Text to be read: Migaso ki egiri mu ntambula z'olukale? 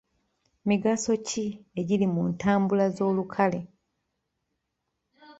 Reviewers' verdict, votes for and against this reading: rejected, 0, 2